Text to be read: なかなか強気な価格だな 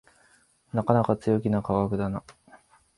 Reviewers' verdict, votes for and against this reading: rejected, 0, 2